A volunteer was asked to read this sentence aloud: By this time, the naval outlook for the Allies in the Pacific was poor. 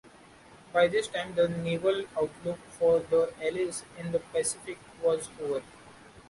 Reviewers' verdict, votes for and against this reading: rejected, 1, 2